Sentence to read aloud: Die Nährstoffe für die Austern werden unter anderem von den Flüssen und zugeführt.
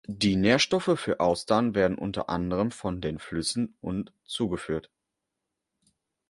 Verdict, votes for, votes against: rejected, 0, 2